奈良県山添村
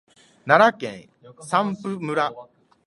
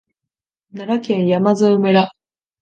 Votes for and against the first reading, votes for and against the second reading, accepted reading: 0, 3, 2, 1, second